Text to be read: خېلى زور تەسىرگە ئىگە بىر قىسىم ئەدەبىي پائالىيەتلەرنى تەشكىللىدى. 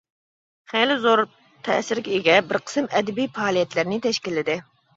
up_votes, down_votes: 2, 0